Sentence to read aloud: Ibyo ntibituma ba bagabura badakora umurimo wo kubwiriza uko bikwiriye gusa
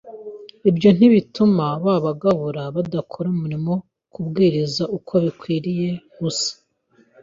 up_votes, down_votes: 2, 0